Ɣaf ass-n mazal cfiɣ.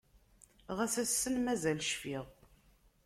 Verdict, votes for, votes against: accepted, 2, 0